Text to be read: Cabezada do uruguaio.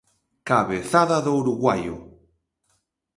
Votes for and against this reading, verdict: 2, 0, accepted